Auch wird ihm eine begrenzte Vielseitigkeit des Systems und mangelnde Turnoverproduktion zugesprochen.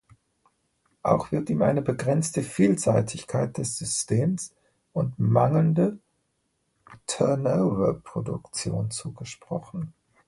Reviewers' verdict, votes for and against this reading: rejected, 1, 2